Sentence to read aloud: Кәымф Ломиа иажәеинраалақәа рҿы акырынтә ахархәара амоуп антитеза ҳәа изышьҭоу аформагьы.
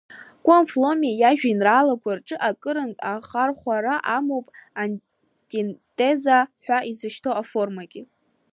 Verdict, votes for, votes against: rejected, 0, 2